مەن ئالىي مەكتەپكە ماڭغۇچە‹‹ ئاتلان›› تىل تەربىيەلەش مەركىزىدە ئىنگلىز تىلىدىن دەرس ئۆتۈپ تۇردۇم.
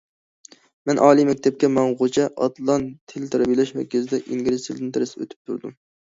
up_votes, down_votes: 0, 2